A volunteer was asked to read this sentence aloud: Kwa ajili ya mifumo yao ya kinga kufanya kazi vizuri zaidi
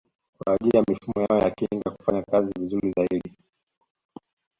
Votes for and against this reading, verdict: 1, 2, rejected